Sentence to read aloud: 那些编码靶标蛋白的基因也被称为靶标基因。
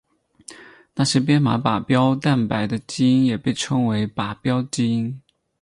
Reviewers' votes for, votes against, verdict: 2, 2, rejected